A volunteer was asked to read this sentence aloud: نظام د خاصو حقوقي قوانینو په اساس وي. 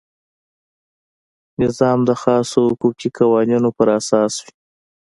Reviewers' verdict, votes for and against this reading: accepted, 2, 0